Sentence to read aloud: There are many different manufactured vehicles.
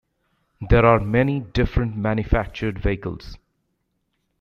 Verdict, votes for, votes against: accepted, 2, 0